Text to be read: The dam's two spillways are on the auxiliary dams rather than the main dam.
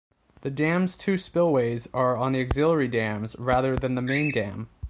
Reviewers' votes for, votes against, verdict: 1, 2, rejected